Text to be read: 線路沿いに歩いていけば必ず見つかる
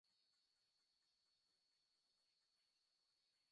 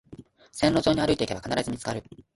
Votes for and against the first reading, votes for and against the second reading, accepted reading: 0, 2, 2, 0, second